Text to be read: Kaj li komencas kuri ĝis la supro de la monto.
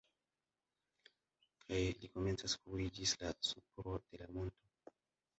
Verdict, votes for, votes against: rejected, 0, 2